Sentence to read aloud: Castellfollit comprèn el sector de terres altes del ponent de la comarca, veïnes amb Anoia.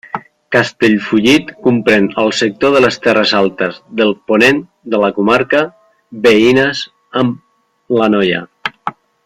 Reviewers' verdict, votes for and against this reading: rejected, 0, 2